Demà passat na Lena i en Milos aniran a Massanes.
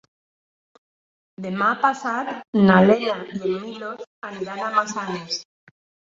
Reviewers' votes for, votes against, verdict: 1, 4, rejected